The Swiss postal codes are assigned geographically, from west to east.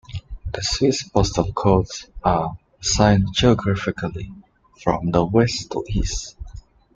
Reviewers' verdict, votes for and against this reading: rejected, 0, 2